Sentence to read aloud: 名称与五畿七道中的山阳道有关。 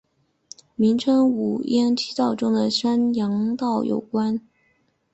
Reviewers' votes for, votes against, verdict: 0, 3, rejected